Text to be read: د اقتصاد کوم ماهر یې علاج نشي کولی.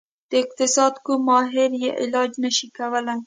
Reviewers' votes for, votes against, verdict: 2, 0, accepted